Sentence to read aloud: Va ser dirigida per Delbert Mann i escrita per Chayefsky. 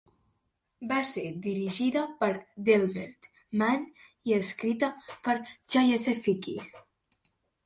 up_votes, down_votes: 3, 1